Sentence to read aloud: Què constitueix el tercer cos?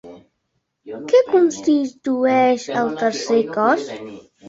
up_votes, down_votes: 1, 3